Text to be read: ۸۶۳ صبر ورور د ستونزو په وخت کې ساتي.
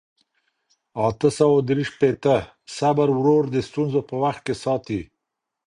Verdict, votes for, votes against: rejected, 0, 2